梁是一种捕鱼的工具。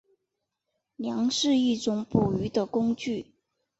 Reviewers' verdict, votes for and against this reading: rejected, 1, 2